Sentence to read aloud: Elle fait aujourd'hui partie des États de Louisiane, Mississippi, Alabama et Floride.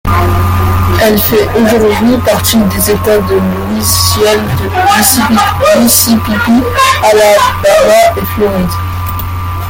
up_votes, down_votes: 0, 2